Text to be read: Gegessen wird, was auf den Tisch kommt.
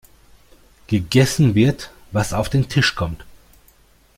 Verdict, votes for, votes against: accepted, 2, 0